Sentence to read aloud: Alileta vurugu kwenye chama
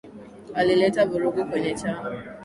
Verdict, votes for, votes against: accepted, 3, 0